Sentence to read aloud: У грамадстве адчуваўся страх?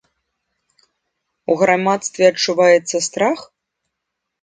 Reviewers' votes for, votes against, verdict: 0, 2, rejected